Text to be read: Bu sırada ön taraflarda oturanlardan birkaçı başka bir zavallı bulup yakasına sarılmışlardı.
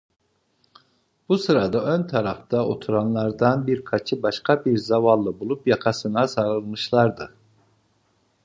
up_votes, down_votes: 0, 2